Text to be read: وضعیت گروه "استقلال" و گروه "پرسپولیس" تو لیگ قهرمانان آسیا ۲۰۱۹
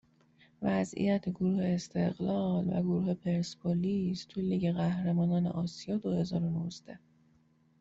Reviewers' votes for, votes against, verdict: 0, 2, rejected